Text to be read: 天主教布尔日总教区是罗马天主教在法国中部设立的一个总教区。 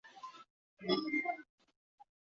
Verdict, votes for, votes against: rejected, 0, 3